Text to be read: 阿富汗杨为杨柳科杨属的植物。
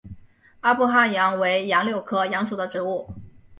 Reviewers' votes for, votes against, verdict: 2, 0, accepted